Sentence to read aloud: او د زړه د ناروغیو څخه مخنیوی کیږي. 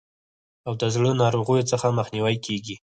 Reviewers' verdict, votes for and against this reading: rejected, 0, 4